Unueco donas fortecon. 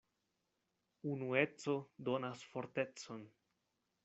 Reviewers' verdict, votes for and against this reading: accepted, 2, 0